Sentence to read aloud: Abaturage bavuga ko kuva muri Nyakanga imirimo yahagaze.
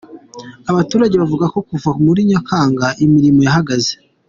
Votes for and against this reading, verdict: 2, 1, accepted